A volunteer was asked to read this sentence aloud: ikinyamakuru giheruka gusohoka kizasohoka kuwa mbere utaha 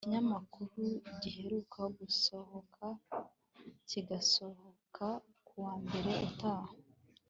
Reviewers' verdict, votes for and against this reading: accepted, 2, 0